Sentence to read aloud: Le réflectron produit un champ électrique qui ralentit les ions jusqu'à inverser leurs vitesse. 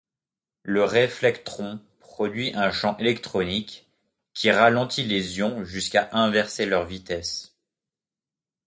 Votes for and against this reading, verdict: 0, 2, rejected